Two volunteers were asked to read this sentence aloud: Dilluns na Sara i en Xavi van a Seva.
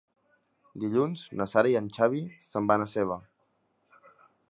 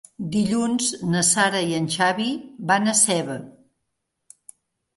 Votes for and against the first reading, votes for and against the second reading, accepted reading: 0, 2, 4, 0, second